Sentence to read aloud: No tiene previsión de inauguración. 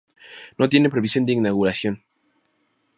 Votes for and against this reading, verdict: 2, 0, accepted